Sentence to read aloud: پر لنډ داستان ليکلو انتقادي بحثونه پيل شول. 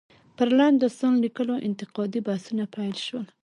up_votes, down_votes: 2, 0